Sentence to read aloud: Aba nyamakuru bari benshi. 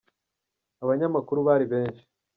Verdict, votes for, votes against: rejected, 1, 2